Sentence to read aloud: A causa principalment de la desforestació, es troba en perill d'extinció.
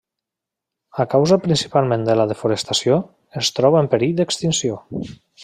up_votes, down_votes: 1, 2